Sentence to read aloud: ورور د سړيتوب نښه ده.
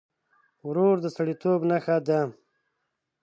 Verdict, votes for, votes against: accepted, 2, 0